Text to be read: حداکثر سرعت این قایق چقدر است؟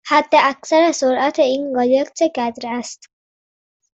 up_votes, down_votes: 2, 0